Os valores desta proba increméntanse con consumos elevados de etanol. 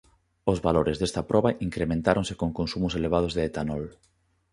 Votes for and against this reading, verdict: 0, 2, rejected